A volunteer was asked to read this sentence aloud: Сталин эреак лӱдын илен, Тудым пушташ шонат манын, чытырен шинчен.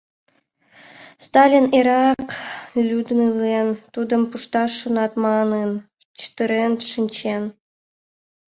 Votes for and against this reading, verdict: 1, 2, rejected